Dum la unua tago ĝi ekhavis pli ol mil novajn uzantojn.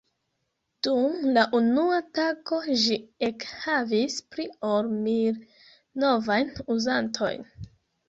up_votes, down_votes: 2, 1